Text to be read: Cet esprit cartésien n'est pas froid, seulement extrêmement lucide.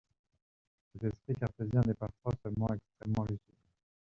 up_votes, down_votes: 0, 2